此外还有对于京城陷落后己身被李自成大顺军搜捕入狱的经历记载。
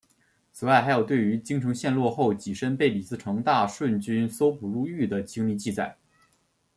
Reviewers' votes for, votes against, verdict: 2, 0, accepted